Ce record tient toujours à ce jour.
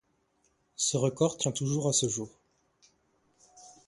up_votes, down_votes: 2, 0